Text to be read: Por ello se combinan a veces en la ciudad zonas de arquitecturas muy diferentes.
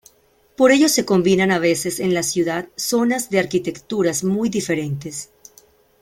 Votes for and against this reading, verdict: 2, 0, accepted